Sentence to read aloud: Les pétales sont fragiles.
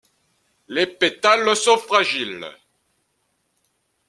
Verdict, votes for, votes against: accepted, 2, 0